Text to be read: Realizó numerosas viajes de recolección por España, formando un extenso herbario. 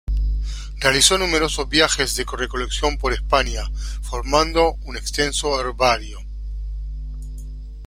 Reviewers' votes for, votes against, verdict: 1, 2, rejected